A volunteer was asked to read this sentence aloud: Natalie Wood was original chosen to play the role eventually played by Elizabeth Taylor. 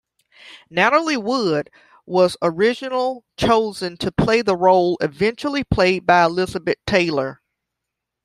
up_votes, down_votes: 2, 1